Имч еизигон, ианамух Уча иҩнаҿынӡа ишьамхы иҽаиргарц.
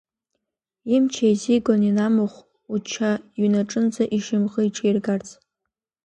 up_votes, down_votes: 1, 2